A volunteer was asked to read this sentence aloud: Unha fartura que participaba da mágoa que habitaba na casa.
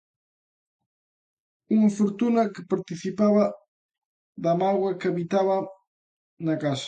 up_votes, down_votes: 0, 2